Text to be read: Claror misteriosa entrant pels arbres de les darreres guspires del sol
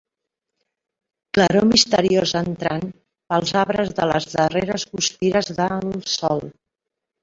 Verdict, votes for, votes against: rejected, 1, 2